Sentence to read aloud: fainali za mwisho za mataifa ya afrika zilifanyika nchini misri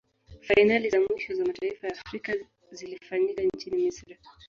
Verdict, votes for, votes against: rejected, 0, 2